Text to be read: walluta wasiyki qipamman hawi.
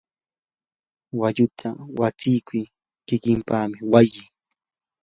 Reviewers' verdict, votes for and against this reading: rejected, 0, 2